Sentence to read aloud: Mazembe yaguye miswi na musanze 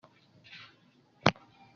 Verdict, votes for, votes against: rejected, 0, 3